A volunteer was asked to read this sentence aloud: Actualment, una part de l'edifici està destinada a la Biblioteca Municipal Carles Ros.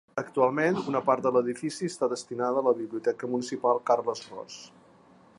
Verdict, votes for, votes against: accepted, 3, 0